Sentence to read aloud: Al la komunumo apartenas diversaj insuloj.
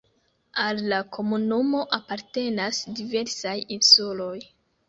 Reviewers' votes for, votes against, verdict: 2, 0, accepted